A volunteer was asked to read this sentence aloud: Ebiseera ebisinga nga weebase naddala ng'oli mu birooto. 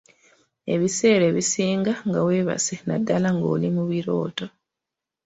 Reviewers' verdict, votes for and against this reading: accepted, 2, 0